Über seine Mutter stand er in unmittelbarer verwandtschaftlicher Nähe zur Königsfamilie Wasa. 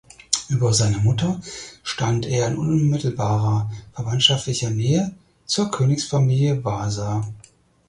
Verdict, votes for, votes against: accepted, 4, 0